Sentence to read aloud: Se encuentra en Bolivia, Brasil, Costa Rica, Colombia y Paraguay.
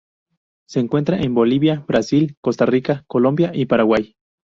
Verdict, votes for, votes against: rejected, 0, 2